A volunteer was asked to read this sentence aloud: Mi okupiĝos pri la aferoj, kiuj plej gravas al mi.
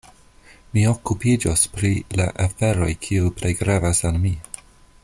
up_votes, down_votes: 0, 2